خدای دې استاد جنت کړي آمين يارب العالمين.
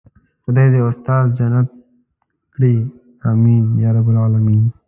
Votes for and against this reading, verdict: 1, 2, rejected